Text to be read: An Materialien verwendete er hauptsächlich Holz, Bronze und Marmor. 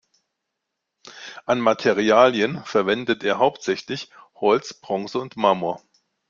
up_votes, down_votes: 1, 2